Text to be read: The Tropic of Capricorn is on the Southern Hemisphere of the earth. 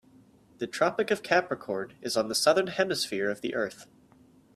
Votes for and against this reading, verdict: 4, 0, accepted